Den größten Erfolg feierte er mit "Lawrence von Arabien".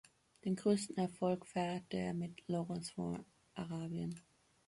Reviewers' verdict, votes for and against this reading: accepted, 2, 0